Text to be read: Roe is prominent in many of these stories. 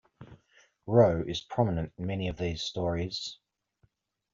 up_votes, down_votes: 2, 0